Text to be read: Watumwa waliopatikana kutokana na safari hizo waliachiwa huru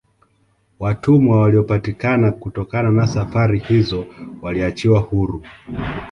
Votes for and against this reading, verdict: 2, 0, accepted